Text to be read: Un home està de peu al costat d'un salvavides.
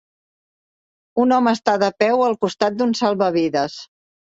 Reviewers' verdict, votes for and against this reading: accepted, 3, 0